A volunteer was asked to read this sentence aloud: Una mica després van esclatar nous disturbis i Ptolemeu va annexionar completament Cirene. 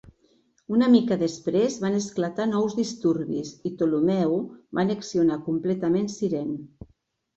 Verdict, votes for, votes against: accepted, 2, 0